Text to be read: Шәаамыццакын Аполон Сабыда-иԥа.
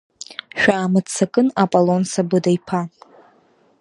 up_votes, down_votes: 2, 0